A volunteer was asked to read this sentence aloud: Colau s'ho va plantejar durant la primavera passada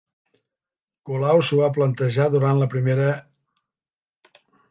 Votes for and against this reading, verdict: 0, 2, rejected